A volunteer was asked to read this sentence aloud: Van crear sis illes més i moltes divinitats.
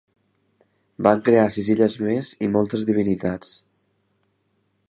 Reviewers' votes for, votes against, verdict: 4, 0, accepted